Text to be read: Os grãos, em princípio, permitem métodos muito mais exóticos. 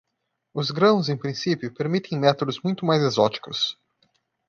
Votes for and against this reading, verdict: 2, 1, accepted